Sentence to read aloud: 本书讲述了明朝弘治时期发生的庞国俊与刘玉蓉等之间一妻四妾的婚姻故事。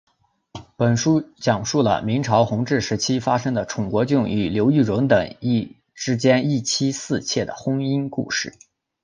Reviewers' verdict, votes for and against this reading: accepted, 2, 0